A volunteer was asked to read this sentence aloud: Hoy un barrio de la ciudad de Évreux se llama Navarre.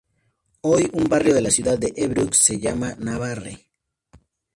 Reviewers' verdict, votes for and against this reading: accepted, 2, 0